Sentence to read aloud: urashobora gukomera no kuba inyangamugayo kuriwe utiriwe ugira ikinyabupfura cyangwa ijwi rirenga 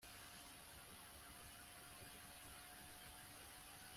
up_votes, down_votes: 1, 2